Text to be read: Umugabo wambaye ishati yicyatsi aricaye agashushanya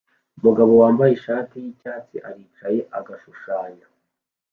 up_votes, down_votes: 2, 0